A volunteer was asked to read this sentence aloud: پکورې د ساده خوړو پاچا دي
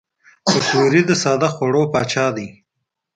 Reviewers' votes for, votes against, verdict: 1, 2, rejected